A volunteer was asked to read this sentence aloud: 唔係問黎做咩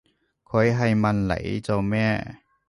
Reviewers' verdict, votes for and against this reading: rejected, 1, 3